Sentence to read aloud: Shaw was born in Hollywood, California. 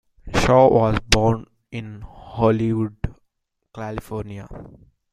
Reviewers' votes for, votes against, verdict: 2, 1, accepted